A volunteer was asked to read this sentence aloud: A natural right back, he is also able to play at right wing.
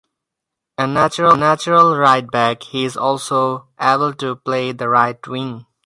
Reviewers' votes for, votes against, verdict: 0, 4, rejected